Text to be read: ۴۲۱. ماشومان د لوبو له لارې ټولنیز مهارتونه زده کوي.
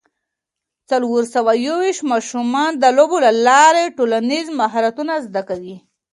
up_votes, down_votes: 0, 2